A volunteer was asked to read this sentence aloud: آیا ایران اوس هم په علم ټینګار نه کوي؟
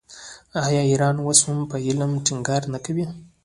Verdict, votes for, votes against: rejected, 0, 2